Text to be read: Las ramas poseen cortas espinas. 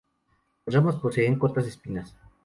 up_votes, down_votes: 0, 2